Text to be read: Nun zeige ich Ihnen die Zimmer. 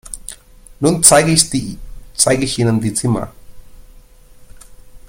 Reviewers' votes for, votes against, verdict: 0, 2, rejected